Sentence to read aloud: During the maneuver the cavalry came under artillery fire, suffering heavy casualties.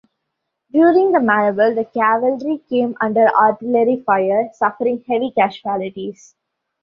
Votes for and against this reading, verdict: 2, 1, accepted